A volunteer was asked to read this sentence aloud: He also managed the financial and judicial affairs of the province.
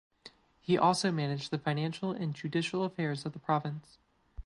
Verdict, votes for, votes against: accepted, 2, 0